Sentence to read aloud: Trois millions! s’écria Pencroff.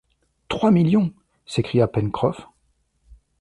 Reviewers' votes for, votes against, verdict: 2, 0, accepted